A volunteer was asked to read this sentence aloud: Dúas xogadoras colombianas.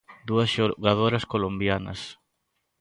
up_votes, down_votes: 1, 2